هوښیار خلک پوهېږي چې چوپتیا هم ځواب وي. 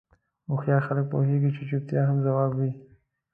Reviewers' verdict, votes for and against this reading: accepted, 2, 0